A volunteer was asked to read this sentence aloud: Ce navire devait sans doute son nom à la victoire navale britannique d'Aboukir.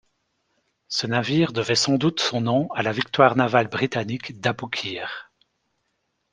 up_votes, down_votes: 2, 0